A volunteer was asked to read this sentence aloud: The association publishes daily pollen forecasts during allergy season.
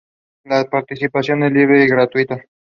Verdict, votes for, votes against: rejected, 0, 2